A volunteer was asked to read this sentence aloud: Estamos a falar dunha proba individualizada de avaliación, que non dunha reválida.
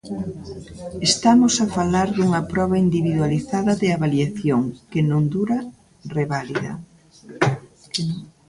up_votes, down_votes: 0, 2